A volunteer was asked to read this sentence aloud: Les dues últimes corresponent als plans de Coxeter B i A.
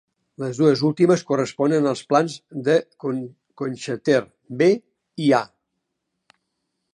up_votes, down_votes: 0, 3